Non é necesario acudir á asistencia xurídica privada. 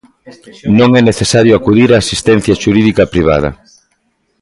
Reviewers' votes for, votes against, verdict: 0, 2, rejected